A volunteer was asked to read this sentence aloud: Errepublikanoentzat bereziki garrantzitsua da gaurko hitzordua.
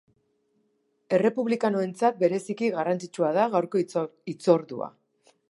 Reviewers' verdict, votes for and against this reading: rejected, 0, 2